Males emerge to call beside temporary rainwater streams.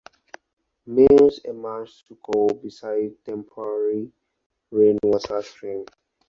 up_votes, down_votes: 0, 2